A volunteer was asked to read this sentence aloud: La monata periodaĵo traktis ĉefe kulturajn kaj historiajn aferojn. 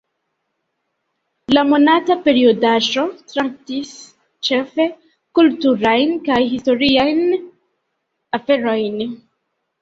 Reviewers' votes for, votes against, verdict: 2, 0, accepted